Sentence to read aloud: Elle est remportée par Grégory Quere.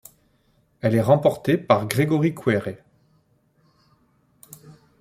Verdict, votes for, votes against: accepted, 2, 0